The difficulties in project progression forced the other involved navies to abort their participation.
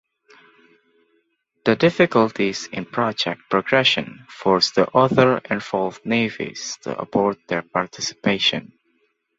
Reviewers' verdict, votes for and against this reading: accepted, 2, 0